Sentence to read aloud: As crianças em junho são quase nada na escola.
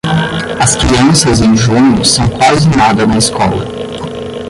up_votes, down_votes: 5, 10